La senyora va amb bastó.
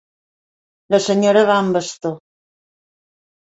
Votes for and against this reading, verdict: 2, 0, accepted